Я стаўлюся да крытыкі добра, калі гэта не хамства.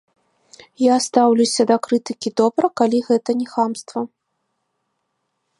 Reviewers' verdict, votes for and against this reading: accepted, 2, 0